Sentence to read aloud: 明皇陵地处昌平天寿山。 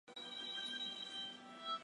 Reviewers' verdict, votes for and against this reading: rejected, 0, 2